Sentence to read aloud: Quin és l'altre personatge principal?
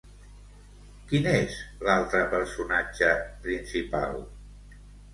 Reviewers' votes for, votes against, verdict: 3, 0, accepted